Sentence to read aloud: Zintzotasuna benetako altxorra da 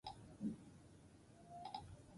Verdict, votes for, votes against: rejected, 0, 4